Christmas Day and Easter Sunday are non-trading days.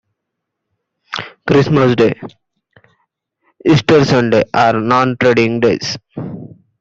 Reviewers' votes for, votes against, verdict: 0, 2, rejected